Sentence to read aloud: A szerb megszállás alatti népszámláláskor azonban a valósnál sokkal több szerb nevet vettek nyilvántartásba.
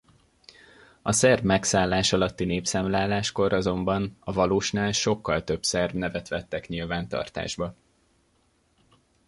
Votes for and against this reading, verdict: 2, 0, accepted